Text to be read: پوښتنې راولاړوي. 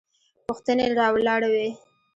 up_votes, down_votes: 2, 1